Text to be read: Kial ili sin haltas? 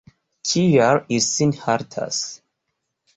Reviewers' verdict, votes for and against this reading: rejected, 1, 2